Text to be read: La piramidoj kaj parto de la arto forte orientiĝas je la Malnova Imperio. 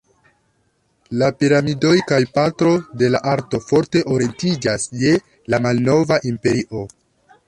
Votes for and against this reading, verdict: 1, 3, rejected